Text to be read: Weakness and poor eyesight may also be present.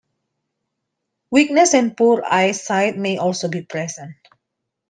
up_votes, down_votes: 2, 0